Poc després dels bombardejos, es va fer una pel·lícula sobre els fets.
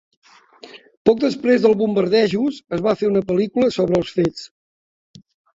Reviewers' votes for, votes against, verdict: 0, 2, rejected